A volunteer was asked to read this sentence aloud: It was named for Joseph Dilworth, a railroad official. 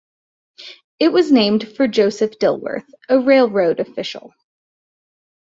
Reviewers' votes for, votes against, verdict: 2, 0, accepted